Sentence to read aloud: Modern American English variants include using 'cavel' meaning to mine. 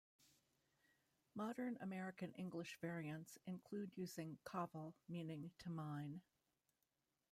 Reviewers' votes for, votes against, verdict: 0, 2, rejected